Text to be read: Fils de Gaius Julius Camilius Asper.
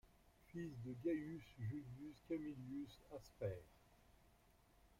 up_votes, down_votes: 2, 0